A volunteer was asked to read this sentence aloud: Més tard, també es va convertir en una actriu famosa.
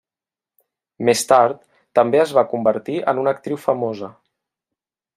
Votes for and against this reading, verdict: 3, 0, accepted